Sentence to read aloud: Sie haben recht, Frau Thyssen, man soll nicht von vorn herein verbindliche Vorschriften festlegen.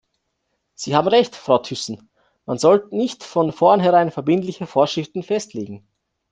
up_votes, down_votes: 1, 2